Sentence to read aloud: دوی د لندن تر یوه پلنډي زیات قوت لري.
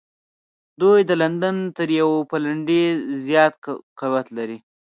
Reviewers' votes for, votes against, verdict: 1, 2, rejected